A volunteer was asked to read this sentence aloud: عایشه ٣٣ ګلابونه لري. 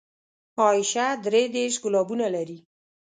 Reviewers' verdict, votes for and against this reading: rejected, 0, 2